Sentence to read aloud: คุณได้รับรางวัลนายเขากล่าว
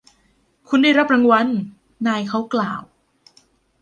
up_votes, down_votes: 0, 2